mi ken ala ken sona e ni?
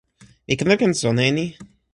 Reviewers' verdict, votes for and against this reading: rejected, 0, 2